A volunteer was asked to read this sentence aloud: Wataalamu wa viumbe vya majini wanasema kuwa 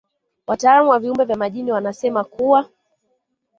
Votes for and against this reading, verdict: 1, 2, rejected